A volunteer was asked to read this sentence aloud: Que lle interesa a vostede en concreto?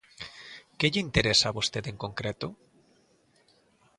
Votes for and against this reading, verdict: 2, 0, accepted